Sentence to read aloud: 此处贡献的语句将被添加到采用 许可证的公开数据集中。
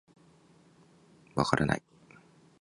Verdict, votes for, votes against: rejected, 0, 3